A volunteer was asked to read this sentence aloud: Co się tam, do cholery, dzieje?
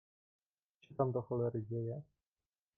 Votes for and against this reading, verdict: 0, 2, rejected